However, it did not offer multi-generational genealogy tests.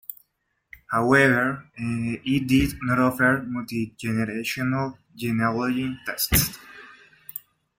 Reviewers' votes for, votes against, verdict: 2, 0, accepted